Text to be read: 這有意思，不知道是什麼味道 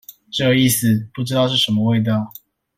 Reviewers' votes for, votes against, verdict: 1, 2, rejected